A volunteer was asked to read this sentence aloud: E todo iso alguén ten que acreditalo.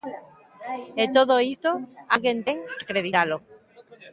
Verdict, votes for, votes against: rejected, 0, 2